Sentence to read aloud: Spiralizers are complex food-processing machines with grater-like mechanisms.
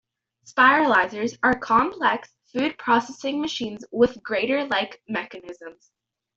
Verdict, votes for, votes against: accepted, 2, 1